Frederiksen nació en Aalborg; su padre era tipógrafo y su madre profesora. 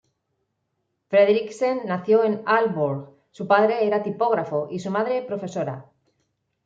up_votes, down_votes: 2, 1